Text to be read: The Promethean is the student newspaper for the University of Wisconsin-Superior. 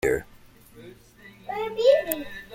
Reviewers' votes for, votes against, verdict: 1, 2, rejected